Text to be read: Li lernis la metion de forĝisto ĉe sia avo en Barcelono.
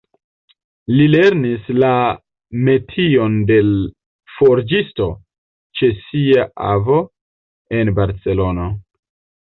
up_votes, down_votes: 0, 2